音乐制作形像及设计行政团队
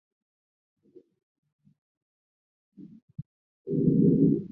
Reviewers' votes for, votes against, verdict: 1, 2, rejected